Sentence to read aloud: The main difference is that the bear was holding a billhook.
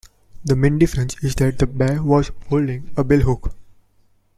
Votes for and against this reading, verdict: 2, 0, accepted